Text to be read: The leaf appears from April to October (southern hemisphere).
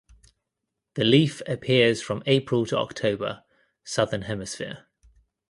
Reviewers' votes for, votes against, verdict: 2, 0, accepted